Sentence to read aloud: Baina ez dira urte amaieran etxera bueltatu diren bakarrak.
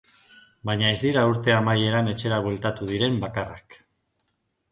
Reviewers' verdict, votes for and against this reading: accepted, 3, 0